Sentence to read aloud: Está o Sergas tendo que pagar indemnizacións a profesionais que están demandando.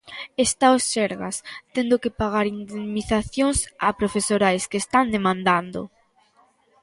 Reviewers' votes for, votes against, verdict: 0, 2, rejected